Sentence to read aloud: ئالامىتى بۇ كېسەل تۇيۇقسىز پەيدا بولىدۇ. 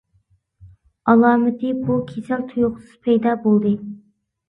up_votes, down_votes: 0, 2